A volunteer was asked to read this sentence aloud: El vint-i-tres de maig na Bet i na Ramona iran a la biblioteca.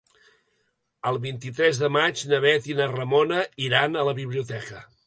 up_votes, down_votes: 2, 0